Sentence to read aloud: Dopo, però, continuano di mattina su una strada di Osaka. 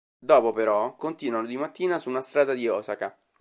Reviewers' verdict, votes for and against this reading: accepted, 2, 1